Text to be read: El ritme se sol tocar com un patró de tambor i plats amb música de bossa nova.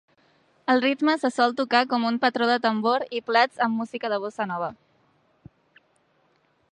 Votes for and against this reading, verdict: 3, 0, accepted